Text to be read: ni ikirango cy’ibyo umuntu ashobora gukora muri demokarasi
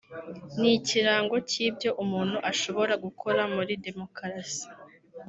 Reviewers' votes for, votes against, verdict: 1, 2, rejected